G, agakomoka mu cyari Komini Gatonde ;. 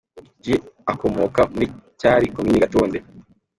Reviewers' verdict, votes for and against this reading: accepted, 2, 0